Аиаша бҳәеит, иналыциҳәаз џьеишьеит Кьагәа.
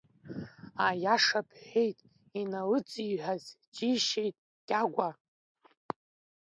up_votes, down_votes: 2, 0